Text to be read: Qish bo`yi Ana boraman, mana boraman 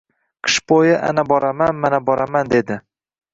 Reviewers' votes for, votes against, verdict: 1, 2, rejected